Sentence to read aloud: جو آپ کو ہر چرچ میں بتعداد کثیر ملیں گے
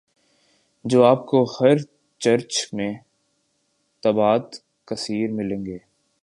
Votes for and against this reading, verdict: 4, 3, accepted